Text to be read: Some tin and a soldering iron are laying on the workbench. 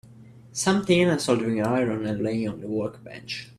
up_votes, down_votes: 1, 3